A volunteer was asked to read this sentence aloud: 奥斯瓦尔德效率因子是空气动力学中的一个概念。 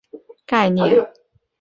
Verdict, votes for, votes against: rejected, 0, 3